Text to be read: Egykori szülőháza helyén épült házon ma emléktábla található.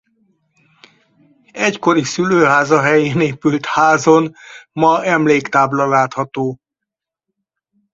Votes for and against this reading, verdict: 0, 4, rejected